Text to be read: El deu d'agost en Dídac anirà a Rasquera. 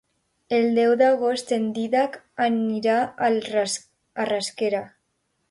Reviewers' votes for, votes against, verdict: 0, 2, rejected